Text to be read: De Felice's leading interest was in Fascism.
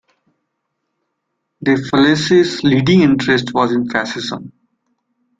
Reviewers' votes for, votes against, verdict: 2, 0, accepted